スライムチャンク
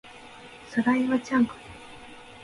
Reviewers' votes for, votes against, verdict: 1, 2, rejected